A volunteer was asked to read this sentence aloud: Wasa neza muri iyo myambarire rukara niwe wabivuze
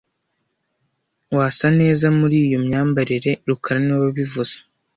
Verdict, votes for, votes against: accepted, 2, 0